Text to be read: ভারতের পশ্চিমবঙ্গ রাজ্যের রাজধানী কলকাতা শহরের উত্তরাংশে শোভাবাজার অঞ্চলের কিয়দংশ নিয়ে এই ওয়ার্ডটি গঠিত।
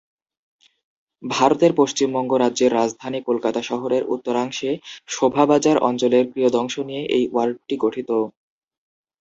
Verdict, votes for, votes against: accepted, 2, 0